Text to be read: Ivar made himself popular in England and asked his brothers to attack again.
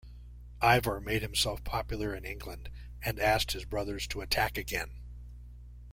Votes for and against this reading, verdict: 2, 0, accepted